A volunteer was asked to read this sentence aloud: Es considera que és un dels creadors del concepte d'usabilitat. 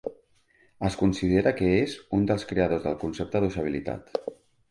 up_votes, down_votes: 3, 0